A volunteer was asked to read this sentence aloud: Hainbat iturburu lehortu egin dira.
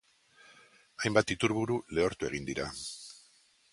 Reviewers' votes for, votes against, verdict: 2, 0, accepted